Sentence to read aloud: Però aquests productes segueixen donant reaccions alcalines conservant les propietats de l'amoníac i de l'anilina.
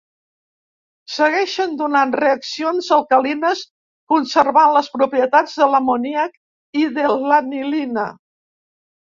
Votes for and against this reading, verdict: 1, 2, rejected